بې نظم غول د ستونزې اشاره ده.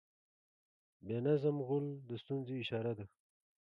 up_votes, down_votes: 4, 0